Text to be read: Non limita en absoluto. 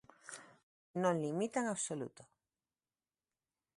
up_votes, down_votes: 2, 1